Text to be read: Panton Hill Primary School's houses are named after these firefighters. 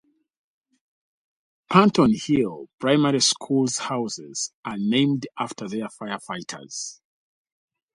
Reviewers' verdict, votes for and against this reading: rejected, 0, 2